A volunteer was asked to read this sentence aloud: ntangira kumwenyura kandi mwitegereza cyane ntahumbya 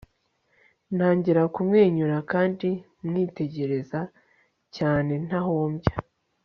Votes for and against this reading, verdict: 3, 0, accepted